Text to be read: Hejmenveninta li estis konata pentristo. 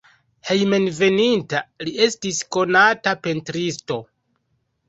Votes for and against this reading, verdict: 0, 2, rejected